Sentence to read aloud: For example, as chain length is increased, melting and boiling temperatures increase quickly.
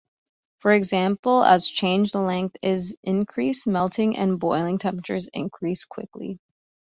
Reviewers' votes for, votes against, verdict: 0, 2, rejected